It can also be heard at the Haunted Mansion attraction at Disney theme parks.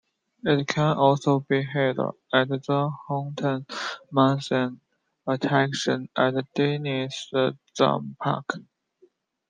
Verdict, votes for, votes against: rejected, 1, 2